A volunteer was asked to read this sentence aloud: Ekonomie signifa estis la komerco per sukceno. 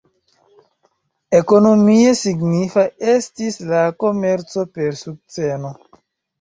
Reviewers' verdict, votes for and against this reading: accepted, 2, 0